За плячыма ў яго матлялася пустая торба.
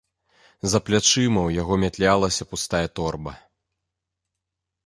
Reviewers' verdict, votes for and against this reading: accepted, 2, 1